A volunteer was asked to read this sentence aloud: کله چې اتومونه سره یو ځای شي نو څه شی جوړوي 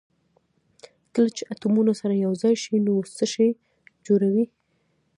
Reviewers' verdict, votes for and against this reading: accepted, 2, 0